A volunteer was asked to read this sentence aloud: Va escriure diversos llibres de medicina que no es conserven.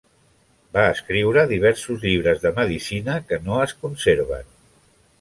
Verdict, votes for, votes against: accepted, 3, 0